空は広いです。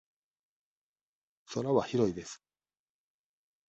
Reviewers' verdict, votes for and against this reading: accepted, 2, 0